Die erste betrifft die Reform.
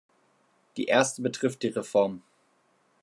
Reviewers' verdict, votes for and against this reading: rejected, 0, 2